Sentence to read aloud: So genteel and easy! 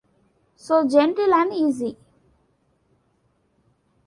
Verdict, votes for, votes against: accepted, 2, 0